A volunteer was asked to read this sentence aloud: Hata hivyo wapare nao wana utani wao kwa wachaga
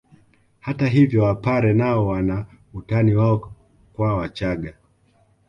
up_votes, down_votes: 2, 1